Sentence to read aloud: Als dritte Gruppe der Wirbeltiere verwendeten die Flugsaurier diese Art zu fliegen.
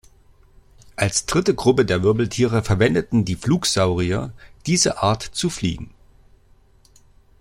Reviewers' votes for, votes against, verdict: 2, 0, accepted